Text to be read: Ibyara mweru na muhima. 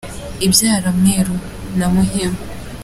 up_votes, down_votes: 2, 0